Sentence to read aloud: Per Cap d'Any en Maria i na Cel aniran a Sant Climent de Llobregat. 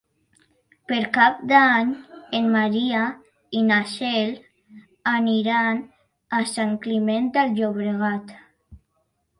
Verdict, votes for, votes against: rejected, 1, 2